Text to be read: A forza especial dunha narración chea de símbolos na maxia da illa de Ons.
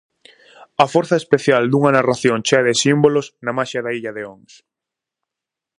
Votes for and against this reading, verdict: 4, 0, accepted